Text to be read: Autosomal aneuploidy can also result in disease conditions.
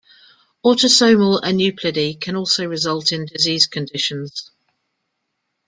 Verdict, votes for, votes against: accepted, 2, 1